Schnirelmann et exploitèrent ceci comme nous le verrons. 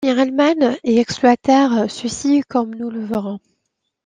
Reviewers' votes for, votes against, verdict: 0, 2, rejected